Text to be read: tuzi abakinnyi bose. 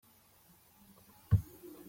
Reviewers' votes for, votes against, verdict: 0, 2, rejected